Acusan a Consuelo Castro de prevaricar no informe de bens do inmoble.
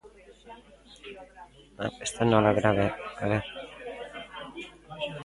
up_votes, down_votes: 0, 2